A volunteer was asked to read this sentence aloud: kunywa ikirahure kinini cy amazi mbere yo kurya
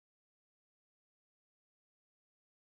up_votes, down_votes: 0, 2